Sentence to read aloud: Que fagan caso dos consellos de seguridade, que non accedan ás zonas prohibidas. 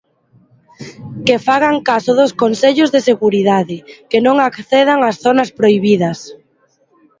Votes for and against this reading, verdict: 3, 0, accepted